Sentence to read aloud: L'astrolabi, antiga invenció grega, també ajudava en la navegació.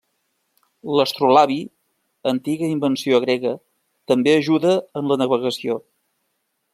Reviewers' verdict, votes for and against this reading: rejected, 0, 2